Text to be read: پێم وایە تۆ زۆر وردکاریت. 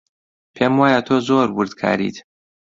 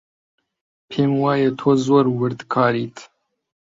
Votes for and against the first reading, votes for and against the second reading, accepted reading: 2, 0, 1, 2, first